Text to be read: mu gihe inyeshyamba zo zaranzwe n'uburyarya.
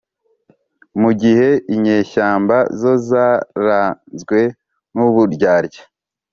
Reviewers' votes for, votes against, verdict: 2, 0, accepted